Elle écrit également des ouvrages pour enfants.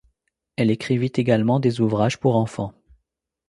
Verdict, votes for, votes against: rejected, 0, 2